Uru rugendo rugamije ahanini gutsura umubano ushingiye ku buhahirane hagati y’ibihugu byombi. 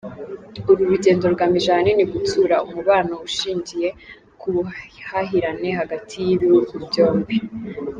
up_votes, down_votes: 2, 0